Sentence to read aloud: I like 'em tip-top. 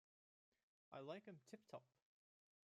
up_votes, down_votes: 2, 0